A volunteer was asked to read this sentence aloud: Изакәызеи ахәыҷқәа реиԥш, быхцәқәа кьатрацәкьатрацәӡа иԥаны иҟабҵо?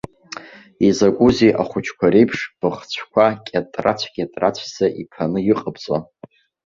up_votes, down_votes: 2, 0